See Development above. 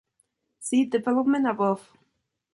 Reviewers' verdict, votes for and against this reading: accepted, 2, 0